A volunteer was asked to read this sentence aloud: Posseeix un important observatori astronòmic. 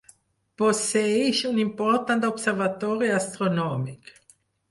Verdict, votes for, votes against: rejected, 2, 4